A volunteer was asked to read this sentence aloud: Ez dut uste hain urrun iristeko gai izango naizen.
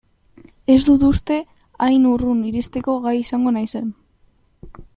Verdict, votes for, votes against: accepted, 2, 1